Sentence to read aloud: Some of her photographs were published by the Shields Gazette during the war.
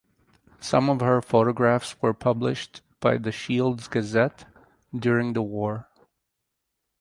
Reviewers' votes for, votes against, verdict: 4, 0, accepted